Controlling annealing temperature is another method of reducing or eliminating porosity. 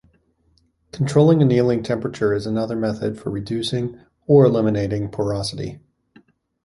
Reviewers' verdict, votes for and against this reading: accepted, 2, 0